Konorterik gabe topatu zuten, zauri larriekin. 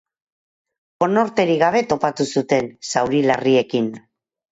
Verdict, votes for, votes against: accepted, 4, 0